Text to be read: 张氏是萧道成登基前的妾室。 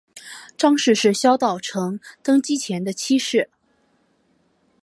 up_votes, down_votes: 2, 0